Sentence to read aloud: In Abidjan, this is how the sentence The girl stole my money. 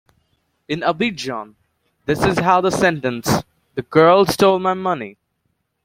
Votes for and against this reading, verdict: 2, 0, accepted